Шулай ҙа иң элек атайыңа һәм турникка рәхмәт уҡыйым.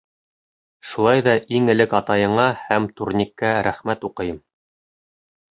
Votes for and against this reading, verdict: 3, 0, accepted